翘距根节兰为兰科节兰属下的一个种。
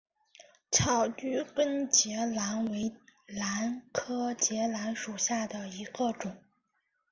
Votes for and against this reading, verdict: 2, 1, accepted